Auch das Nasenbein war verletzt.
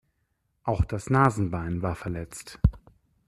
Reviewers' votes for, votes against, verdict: 2, 0, accepted